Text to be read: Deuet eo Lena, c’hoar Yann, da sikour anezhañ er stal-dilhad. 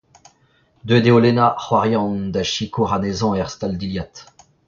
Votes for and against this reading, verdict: 2, 0, accepted